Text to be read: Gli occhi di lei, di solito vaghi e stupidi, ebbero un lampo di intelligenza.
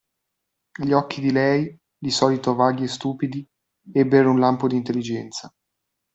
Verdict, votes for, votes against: accepted, 2, 0